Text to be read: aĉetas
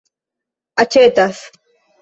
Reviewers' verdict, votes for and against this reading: accepted, 2, 0